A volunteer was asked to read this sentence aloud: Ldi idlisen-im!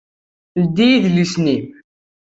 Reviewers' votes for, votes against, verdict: 2, 0, accepted